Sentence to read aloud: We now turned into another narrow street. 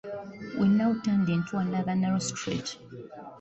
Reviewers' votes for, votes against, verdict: 2, 1, accepted